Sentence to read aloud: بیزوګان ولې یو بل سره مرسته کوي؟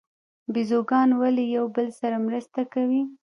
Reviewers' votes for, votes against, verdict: 0, 2, rejected